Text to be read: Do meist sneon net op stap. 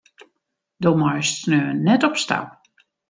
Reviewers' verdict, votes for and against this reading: accepted, 2, 0